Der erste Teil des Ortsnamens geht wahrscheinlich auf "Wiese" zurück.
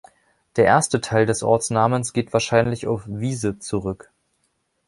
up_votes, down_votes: 2, 0